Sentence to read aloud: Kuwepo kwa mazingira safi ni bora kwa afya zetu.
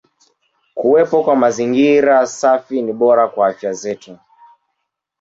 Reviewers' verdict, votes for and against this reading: accepted, 2, 1